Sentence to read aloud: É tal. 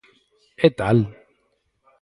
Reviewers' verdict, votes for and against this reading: accepted, 4, 0